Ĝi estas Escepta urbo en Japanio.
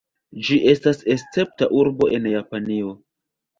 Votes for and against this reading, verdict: 1, 2, rejected